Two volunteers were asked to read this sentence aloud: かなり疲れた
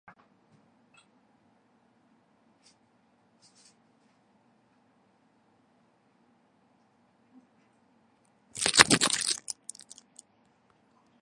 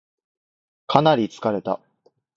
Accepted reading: second